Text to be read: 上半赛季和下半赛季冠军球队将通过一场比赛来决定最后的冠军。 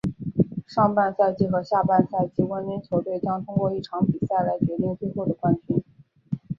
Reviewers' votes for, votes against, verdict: 1, 2, rejected